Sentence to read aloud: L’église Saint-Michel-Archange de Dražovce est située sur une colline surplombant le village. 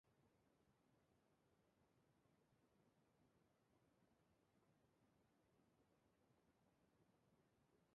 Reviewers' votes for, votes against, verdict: 0, 2, rejected